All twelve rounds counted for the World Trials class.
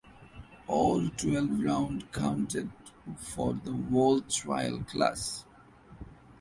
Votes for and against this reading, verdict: 0, 2, rejected